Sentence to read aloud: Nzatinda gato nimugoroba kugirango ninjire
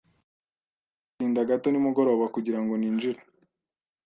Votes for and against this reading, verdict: 2, 0, accepted